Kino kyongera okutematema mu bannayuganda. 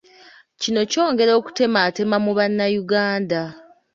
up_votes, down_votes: 2, 0